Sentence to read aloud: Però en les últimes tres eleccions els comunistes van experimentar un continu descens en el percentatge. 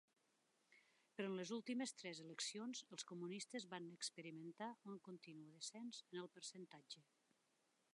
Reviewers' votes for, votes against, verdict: 1, 2, rejected